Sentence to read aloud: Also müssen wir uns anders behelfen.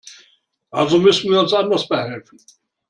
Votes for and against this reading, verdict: 2, 0, accepted